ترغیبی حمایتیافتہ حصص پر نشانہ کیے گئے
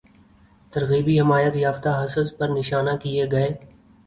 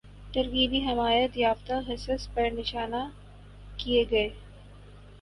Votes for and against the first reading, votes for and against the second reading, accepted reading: 2, 0, 2, 2, first